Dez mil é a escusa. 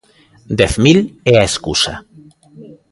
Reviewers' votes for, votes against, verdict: 2, 0, accepted